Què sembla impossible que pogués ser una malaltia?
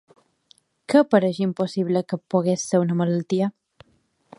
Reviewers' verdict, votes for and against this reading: rejected, 0, 2